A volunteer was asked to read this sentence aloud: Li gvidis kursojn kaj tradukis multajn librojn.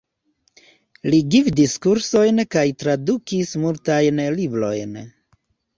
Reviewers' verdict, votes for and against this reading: rejected, 1, 2